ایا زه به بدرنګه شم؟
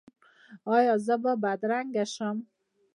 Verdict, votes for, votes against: rejected, 1, 2